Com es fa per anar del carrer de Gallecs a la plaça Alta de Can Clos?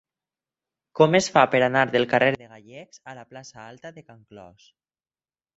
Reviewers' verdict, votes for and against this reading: rejected, 0, 4